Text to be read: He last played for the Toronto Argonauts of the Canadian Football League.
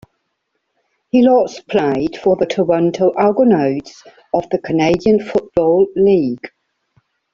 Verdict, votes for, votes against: rejected, 0, 2